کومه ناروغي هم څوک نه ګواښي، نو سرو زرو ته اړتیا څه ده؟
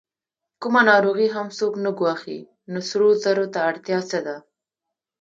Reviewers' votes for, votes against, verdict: 2, 0, accepted